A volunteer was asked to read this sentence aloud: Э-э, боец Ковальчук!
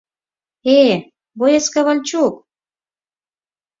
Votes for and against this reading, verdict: 4, 0, accepted